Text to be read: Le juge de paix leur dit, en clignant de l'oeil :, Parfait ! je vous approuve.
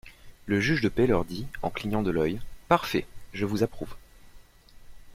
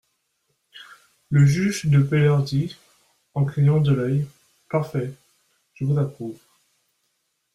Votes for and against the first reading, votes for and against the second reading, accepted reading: 2, 0, 1, 2, first